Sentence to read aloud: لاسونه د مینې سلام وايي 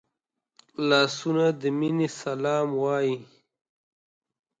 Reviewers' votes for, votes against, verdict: 2, 0, accepted